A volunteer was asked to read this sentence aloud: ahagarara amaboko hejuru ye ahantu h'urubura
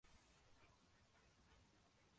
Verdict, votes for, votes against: rejected, 0, 2